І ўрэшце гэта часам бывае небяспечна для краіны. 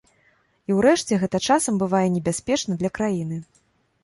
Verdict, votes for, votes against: accepted, 2, 0